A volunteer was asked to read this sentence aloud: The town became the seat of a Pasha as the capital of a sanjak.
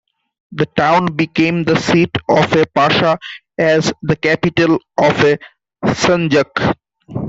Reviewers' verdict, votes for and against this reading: accepted, 2, 1